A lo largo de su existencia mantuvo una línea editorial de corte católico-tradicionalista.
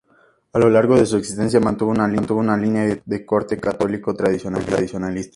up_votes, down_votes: 4, 0